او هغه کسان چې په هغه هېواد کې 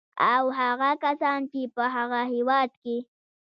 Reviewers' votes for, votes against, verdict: 1, 2, rejected